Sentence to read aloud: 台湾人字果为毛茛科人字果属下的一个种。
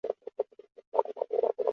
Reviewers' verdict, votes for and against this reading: rejected, 1, 4